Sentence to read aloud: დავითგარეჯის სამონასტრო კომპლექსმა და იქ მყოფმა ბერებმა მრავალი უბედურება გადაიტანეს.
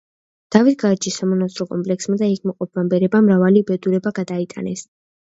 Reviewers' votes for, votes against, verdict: 1, 2, rejected